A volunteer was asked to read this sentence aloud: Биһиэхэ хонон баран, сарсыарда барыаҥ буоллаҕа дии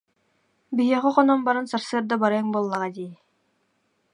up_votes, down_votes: 2, 0